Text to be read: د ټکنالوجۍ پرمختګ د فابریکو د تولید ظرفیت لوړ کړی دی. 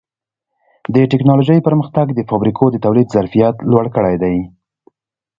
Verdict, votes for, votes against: accepted, 2, 0